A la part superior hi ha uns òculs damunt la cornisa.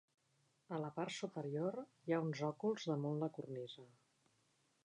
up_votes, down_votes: 2, 0